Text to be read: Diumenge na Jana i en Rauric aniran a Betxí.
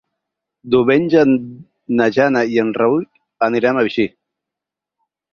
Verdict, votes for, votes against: rejected, 0, 4